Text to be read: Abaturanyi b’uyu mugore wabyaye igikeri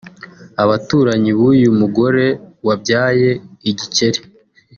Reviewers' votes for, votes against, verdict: 3, 0, accepted